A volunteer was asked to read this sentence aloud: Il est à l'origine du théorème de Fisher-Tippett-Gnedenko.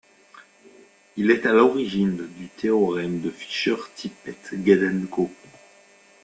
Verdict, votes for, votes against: accepted, 2, 0